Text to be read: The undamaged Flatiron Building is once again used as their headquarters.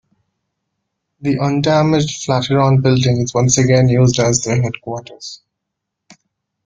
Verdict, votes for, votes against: accepted, 2, 1